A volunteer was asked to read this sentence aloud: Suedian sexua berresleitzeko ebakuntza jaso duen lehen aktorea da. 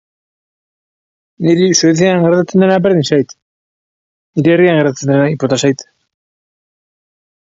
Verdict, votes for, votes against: rejected, 0, 4